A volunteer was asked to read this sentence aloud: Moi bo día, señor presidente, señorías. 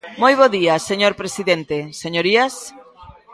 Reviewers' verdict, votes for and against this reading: rejected, 0, 2